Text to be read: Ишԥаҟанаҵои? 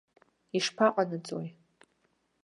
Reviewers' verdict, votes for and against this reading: accepted, 2, 0